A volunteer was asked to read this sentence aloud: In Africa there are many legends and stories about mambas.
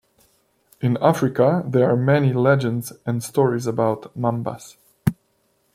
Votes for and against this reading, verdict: 2, 0, accepted